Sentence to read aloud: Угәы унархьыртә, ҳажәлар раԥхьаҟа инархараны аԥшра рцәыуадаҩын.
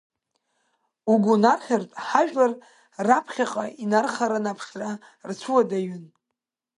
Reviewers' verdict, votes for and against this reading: accepted, 2, 1